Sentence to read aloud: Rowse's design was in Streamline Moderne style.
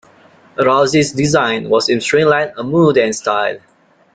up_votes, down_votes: 2, 0